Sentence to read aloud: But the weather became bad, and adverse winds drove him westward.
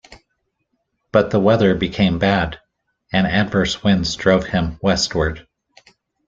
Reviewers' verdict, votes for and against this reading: accepted, 2, 0